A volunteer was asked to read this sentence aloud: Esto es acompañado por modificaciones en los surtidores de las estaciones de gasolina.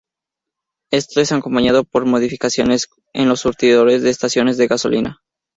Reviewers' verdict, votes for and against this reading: accepted, 4, 0